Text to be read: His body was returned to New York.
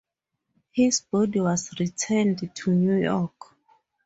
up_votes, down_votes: 2, 0